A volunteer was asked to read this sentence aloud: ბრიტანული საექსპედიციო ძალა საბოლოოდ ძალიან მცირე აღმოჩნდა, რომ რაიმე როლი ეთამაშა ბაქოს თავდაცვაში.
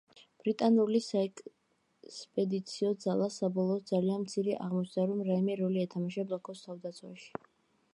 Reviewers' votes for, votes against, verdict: 1, 2, rejected